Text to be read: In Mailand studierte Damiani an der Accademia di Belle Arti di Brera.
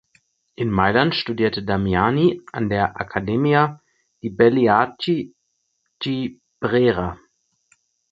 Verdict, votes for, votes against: rejected, 4, 6